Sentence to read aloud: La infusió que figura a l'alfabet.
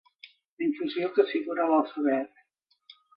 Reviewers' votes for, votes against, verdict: 1, 2, rejected